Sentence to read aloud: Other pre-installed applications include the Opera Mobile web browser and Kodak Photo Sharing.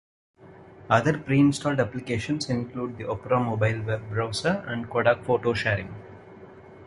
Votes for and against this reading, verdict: 2, 0, accepted